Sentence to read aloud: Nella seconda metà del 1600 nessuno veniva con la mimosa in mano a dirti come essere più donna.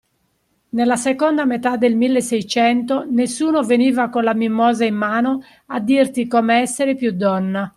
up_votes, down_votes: 0, 2